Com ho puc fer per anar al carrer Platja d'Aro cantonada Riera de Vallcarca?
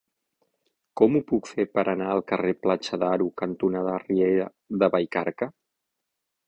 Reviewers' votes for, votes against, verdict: 3, 6, rejected